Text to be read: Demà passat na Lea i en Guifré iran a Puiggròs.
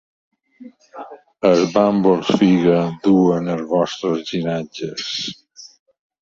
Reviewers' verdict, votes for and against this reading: rejected, 0, 3